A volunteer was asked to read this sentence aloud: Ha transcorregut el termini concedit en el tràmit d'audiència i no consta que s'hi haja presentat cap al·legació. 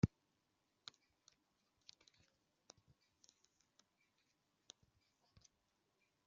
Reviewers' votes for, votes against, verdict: 0, 2, rejected